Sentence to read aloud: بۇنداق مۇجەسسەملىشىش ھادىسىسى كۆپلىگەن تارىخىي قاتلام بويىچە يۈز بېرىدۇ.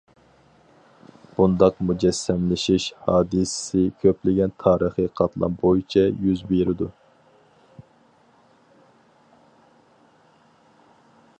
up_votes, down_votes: 4, 0